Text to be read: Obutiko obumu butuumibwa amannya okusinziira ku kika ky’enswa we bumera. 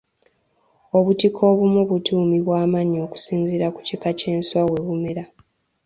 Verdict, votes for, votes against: accepted, 2, 0